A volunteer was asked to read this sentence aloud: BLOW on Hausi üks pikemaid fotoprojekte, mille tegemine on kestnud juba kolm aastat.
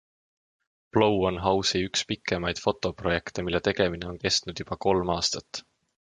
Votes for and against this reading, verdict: 2, 0, accepted